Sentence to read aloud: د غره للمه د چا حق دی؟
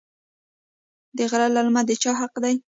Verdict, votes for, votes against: accepted, 2, 1